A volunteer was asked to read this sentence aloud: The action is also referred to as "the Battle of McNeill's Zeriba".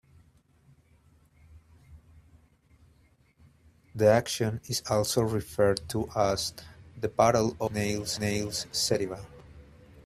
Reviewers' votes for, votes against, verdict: 1, 2, rejected